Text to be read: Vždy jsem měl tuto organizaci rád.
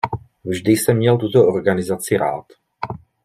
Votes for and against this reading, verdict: 2, 0, accepted